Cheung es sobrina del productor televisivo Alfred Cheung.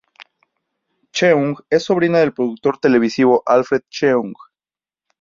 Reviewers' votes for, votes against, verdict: 4, 0, accepted